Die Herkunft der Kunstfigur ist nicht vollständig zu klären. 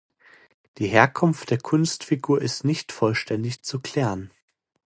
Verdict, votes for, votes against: accepted, 2, 0